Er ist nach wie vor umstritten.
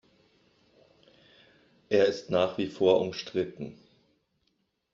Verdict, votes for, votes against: accepted, 2, 0